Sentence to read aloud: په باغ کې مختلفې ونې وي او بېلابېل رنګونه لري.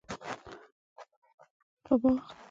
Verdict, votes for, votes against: rejected, 1, 2